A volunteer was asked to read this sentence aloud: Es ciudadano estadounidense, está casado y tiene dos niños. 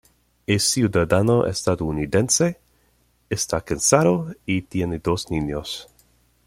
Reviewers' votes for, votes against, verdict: 1, 2, rejected